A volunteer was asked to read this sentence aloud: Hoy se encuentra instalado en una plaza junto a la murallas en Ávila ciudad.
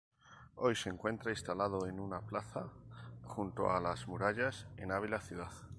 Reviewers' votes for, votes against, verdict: 0, 2, rejected